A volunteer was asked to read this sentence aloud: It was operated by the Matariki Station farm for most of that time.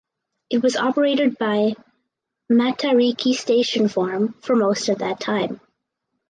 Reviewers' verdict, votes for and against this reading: rejected, 2, 2